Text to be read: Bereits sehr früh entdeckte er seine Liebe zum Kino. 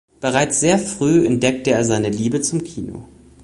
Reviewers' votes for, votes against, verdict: 2, 0, accepted